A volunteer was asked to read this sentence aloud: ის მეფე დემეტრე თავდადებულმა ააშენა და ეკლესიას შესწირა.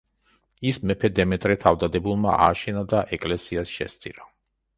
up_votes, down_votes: 2, 0